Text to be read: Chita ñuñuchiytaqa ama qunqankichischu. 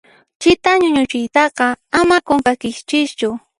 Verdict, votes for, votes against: rejected, 1, 2